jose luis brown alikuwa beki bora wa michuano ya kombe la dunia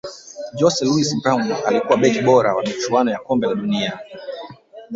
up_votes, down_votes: 1, 2